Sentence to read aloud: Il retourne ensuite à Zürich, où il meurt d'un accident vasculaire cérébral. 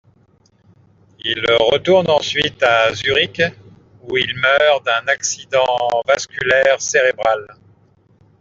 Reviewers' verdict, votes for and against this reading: accepted, 2, 0